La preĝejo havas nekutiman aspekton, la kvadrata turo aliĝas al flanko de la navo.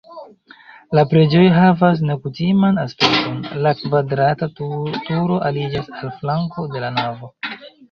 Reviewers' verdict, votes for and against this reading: rejected, 1, 2